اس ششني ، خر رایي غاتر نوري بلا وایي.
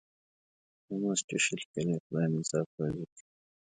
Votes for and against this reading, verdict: 1, 2, rejected